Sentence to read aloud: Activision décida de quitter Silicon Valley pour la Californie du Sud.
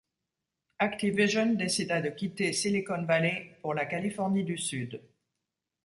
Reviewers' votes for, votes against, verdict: 2, 0, accepted